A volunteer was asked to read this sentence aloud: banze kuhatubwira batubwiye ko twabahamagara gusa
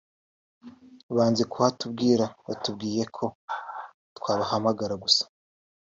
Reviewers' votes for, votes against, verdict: 2, 1, accepted